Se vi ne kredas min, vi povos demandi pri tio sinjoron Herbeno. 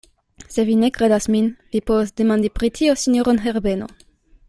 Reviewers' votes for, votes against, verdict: 2, 0, accepted